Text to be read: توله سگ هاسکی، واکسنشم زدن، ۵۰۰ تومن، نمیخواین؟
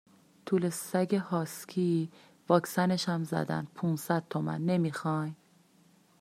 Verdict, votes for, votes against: rejected, 0, 2